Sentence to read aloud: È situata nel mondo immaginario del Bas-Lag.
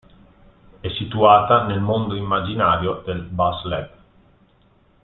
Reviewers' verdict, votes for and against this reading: accepted, 2, 1